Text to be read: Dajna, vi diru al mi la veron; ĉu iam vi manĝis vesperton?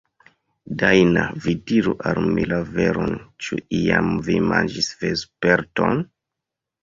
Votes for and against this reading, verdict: 0, 2, rejected